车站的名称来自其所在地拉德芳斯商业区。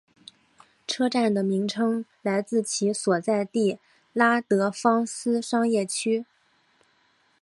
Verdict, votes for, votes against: accepted, 2, 0